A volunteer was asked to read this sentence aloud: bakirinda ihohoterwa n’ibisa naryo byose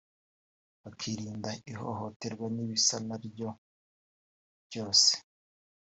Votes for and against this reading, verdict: 1, 2, rejected